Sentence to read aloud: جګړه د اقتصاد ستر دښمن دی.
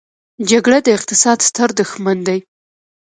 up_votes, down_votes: 1, 2